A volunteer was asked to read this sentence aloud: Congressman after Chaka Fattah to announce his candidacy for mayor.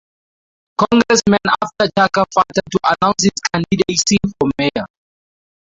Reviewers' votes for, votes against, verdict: 2, 0, accepted